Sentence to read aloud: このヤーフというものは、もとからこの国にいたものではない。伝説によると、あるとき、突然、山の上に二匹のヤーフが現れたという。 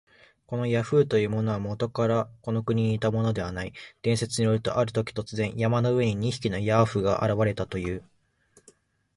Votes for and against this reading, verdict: 7, 7, rejected